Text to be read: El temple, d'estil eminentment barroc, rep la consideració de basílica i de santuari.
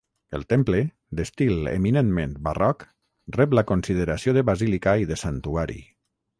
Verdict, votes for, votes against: accepted, 6, 0